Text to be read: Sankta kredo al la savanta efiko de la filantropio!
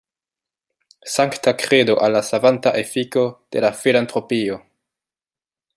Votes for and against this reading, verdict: 2, 0, accepted